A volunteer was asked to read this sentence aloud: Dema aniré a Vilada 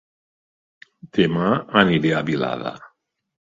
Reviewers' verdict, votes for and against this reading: accepted, 2, 0